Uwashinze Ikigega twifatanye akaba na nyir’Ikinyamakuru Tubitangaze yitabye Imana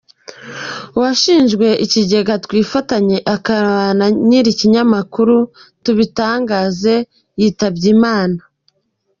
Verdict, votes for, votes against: rejected, 1, 2